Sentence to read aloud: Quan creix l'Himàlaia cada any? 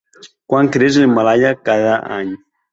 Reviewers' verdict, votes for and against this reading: accepted, 2, 1